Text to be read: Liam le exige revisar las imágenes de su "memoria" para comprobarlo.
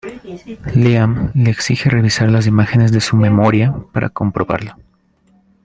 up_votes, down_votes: 1, 2